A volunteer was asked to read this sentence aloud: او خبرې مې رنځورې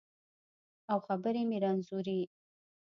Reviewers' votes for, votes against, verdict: 1, 2, rejected